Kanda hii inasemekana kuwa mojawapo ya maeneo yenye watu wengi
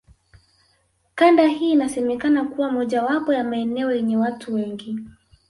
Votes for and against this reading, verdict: 0, 2, rejected